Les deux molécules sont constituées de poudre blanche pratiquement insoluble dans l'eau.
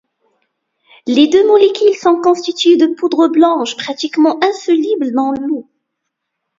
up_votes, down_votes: 2, 1